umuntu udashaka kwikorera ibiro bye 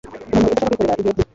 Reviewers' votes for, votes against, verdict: 1, 2, rejected